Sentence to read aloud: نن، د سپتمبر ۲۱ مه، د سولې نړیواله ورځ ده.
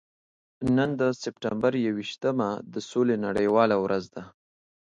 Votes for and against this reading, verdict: 0, 2, rejected